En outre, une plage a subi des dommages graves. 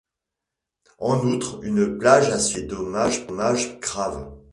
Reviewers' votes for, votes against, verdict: 1, 2, rejected